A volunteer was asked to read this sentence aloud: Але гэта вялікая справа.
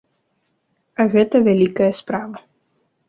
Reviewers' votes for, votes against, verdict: 0, 2, rejected